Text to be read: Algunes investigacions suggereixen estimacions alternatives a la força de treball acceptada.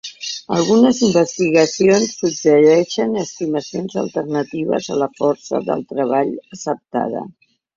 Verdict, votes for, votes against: accepted, 2, 0